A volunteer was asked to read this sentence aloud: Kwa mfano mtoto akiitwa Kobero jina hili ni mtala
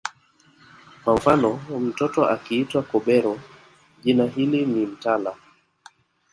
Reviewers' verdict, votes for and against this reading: rejected, 1, 2